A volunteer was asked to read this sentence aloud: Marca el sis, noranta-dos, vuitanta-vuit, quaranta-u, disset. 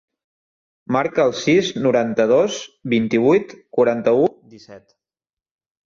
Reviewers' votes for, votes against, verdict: 0, 2, rejected